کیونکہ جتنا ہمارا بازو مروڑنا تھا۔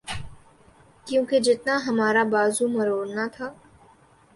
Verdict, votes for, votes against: accepted, 4, 0